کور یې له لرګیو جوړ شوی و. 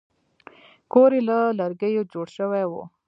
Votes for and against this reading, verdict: 1, 2, rejected